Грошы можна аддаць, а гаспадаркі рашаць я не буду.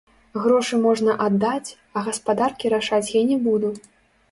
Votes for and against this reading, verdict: 1, 2, rejected